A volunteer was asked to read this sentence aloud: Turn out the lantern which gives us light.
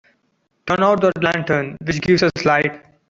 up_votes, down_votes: 2, 0